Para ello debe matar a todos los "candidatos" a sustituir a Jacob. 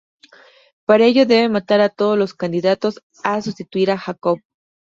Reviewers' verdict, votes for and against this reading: accepted, 2, 0